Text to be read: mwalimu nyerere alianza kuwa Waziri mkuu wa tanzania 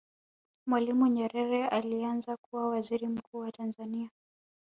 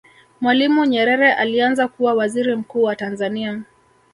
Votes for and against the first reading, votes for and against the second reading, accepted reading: 2, 0, 1, 2, first